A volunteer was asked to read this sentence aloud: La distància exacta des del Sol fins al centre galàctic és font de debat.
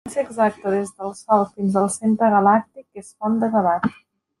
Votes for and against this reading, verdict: 0, 2, rejected